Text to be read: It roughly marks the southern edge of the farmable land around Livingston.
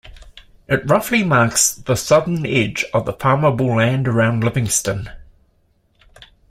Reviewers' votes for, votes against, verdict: 2, 0, accepted